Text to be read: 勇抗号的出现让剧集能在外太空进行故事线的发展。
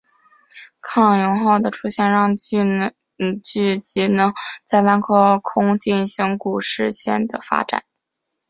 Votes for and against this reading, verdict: 1, 3, rejected